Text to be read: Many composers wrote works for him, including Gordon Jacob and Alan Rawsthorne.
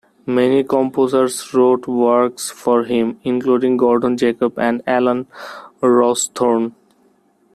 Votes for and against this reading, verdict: 1, 2, rejected